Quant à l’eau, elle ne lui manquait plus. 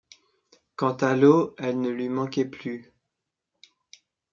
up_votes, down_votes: 2, 1